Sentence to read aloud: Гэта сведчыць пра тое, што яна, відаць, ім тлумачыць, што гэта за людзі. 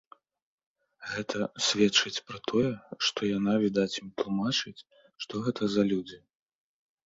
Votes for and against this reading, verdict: 2, 1, accepted